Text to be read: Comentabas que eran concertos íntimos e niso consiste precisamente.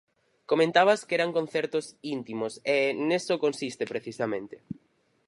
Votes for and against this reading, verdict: 2, 2, rejected